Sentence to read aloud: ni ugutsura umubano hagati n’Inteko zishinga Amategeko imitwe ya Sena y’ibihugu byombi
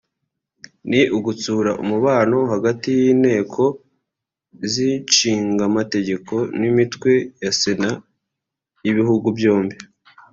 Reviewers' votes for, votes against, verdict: 0, 2, rejected